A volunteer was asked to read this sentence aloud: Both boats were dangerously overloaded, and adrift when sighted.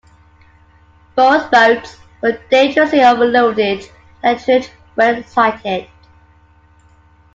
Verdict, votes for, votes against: rejected, 0, 2